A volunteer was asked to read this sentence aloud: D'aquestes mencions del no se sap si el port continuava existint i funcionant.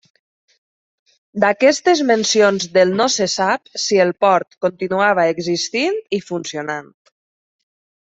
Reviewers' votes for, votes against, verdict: 3, 0, accepted